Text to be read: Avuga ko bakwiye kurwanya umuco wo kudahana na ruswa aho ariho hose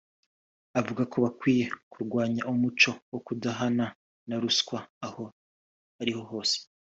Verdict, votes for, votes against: rejected, 1, 2